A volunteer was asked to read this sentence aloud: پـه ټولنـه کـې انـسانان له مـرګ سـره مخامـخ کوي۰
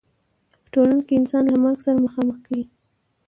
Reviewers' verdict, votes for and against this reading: rejected, 0, 2